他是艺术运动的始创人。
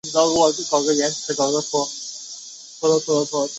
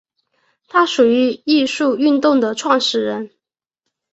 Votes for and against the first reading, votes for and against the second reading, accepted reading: 0, 3, 4, 1, second